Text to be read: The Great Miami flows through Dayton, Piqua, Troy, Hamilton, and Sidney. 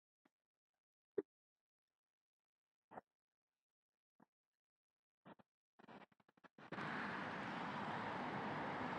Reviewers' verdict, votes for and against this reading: rejected, 0, 3